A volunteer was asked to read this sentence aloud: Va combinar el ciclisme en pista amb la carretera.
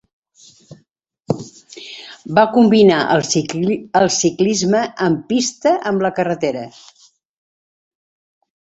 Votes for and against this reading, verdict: 0, 2, rejected